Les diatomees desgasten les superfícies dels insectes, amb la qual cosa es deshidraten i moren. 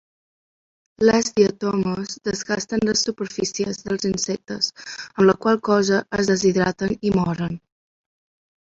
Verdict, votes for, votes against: accepted, 2, 0